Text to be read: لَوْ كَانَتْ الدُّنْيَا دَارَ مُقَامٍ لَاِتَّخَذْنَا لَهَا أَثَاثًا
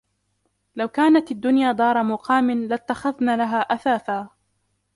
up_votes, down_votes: 2, 1